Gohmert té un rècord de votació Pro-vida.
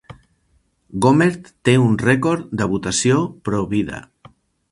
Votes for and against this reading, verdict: 4, 0, accepted